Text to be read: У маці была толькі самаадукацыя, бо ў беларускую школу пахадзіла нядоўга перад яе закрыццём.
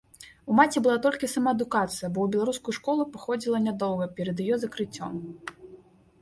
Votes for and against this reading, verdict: 3, 1, accepted